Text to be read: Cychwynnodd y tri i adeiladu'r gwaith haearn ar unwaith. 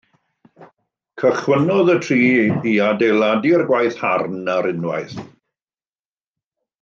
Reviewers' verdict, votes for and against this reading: rejected, 1, 2